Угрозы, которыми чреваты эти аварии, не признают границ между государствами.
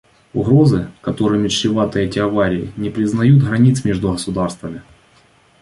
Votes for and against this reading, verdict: 2, 0, accepted